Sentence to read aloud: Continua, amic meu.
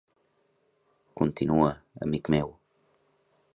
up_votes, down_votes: 0, 2